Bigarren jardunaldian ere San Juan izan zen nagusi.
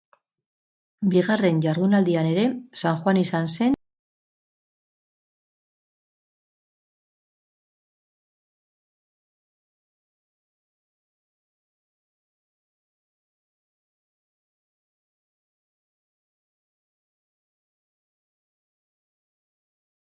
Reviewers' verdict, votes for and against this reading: rejected, 0, 6